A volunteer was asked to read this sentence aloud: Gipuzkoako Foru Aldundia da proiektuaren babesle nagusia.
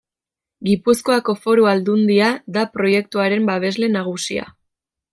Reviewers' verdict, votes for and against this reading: accepted, 2, 0